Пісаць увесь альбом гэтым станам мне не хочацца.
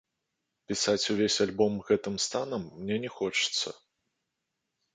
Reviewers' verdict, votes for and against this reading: accepted, 2, 0